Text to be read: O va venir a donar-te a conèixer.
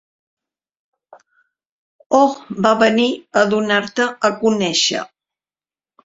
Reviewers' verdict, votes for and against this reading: rejected, 1, 2